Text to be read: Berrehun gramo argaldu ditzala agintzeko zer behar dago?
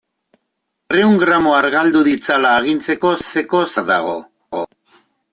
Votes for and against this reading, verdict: 0, 2, rejected